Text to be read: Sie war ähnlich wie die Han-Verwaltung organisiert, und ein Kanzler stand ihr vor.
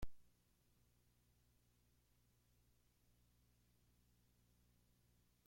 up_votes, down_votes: 0, 2